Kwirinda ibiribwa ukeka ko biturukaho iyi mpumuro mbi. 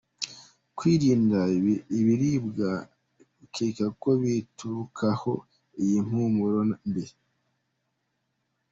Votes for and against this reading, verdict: 1, 2, rejected